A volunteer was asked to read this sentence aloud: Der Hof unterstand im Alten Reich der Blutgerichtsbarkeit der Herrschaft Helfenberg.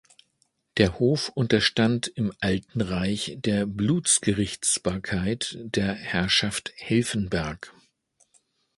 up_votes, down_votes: 1, 2